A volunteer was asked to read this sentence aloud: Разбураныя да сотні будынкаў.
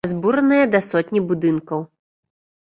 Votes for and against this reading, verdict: 0, 2, rejected